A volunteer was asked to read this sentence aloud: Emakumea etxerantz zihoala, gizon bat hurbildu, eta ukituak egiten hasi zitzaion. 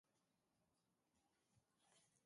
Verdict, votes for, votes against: rejected, 0, 2